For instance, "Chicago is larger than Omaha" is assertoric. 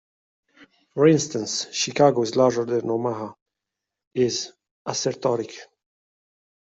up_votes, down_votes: 2, 0